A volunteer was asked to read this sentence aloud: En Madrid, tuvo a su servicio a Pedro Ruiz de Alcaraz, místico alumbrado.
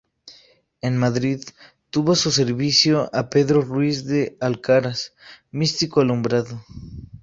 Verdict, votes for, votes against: accepted, 2, 0